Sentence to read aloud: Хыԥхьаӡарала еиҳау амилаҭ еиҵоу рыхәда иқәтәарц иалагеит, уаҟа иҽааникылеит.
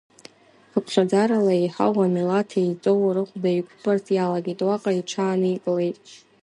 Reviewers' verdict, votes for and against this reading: accepted, 2, 0